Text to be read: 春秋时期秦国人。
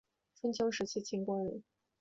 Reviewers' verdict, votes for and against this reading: accepted, 3, 0